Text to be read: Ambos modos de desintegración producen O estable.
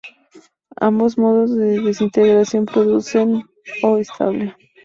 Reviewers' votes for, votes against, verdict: 4, 2, accepted